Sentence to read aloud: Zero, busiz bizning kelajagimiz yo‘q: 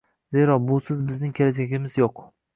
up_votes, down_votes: 2, 0